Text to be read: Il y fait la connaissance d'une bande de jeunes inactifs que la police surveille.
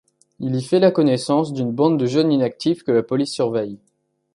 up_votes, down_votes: 2, 0